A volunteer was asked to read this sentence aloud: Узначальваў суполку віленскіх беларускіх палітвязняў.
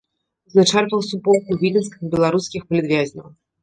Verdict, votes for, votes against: rejected, 1, 3